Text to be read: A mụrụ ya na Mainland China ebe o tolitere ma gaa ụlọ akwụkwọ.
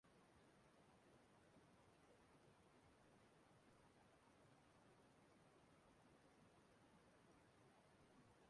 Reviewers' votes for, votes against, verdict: 0, 3, rejected